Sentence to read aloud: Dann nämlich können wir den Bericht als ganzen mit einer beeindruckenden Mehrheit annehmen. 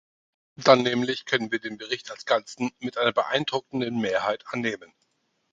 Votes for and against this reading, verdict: 2, 4, rejected